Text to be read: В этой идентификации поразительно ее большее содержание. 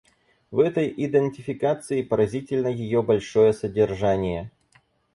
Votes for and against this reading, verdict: 2, 4, rejected